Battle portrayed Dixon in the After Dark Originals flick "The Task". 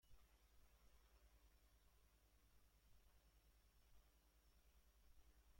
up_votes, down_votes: 0, 2